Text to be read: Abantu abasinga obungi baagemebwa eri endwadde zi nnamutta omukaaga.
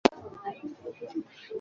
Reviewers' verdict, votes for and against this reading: rejected, 0, 3